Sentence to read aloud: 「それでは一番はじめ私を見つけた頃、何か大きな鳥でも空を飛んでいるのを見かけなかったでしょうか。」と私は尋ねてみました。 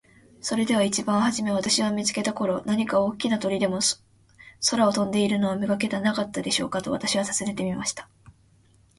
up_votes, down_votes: 0, 2